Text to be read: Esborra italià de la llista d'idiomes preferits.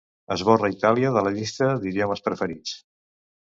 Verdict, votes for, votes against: rejected, 1, 2